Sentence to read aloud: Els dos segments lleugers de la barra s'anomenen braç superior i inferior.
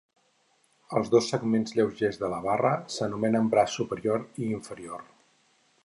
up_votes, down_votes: 4, 0